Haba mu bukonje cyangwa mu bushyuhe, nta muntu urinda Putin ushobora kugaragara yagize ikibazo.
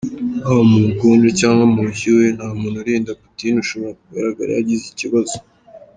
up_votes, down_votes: 0, 2